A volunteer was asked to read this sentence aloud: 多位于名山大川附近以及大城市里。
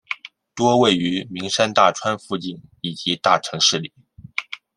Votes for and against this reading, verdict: 2, 0, accepted